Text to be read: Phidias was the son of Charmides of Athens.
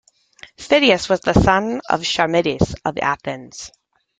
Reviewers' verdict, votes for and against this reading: accepted, 2, 0